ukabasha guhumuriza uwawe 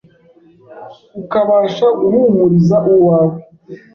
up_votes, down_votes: 2, 0